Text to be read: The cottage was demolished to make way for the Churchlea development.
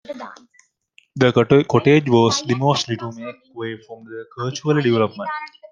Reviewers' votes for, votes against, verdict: 1, 2, rejected